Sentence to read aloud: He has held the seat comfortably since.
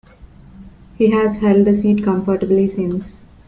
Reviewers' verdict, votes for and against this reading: rejected, 0, 2